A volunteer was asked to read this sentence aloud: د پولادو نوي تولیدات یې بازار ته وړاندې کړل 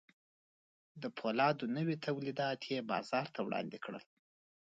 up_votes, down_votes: 0, 2